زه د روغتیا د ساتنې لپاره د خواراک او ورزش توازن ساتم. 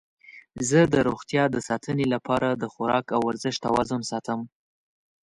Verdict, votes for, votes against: accepted, 2, 0